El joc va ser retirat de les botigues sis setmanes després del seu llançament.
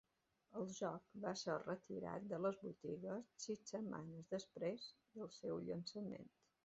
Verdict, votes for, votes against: rejected, 1, 2